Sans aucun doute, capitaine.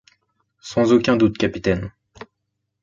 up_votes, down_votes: 2, 0